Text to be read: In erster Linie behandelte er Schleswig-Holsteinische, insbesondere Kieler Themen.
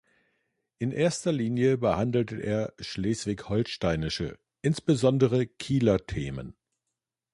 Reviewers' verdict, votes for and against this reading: accepted, 2, 0